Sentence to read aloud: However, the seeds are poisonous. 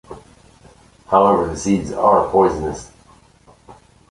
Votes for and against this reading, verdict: 1, 2, rejected